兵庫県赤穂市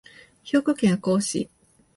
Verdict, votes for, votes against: accepted, 2, 0